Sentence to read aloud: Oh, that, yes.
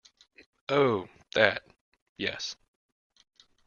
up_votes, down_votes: 2, 0